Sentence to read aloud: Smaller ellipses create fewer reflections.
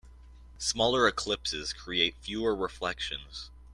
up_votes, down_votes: 1, 2